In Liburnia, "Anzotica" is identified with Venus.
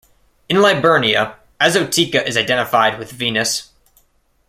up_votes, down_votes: 2, 0